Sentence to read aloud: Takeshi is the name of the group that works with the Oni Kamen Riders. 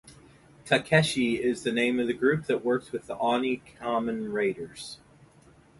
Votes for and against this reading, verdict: 2, 2, rejected